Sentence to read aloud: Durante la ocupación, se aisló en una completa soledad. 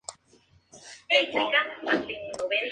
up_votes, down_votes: 0, 2